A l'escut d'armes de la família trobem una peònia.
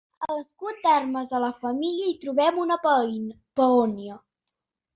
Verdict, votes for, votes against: rejected, 0, 2